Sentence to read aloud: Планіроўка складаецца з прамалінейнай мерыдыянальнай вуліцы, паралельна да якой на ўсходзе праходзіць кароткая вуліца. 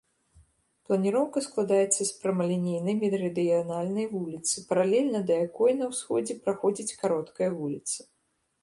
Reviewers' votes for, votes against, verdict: 0, 2, rejected